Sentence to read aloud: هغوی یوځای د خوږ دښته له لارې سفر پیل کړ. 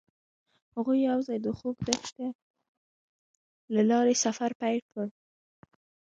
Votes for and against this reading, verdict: 0, 2, rejected